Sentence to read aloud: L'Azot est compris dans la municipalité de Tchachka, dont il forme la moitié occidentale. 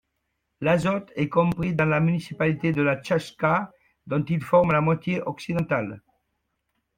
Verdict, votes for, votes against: rejected, 0, 2